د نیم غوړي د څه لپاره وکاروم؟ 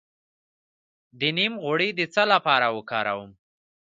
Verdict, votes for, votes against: rejected, 1, 2